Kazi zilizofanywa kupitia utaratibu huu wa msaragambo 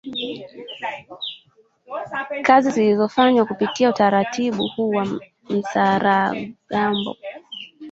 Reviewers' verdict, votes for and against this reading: rejected, 1, 2